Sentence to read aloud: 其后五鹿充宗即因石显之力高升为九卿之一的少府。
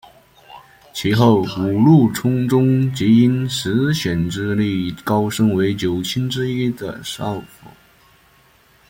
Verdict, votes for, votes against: accepted, 2, 0